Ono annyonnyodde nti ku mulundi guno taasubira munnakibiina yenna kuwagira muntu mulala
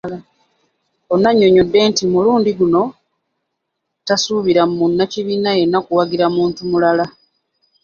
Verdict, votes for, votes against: accepted, 3, 0